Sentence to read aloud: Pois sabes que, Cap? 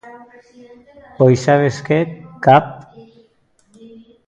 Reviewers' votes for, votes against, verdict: 1, 2, rejected